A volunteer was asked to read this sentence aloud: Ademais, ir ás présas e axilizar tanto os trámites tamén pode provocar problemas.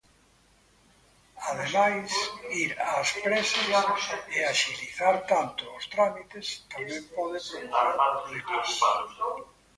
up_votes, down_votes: 0, 2